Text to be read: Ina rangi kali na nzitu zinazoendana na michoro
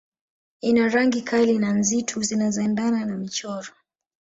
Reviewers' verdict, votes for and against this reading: rejected, 1, 2